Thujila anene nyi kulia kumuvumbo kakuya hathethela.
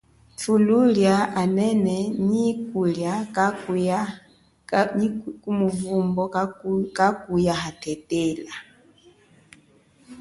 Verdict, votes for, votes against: accepted, 2, 1